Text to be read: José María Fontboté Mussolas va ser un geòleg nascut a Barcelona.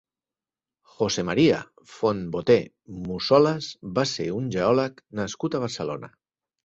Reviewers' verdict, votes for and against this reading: accepted, 4, 0